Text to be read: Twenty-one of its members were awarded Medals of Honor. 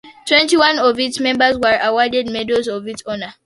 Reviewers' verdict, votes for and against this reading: rejected, 0, 2